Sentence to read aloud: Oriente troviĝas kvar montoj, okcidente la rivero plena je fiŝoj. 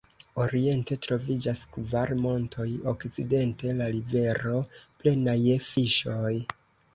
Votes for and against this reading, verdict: 2, 0, accepted